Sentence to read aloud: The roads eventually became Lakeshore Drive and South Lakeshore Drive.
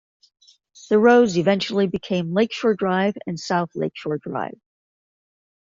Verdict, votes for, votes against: accepted, 2, 0